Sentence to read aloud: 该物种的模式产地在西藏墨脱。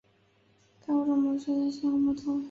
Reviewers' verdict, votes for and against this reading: rejected, 0, 2